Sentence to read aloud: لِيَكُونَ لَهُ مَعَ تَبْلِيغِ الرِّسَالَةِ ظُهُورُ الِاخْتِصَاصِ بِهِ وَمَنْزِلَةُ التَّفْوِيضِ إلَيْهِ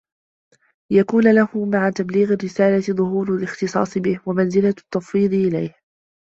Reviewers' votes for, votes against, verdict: 2, 1, accepted